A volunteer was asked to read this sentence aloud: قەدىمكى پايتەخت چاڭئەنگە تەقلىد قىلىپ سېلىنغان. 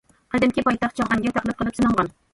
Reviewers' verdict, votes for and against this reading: rejected, 1, 2